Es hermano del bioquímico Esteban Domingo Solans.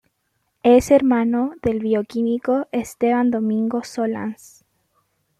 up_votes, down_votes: 2, 0